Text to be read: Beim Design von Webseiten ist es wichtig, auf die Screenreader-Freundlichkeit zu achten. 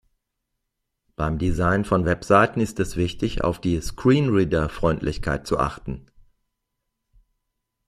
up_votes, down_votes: 2, 0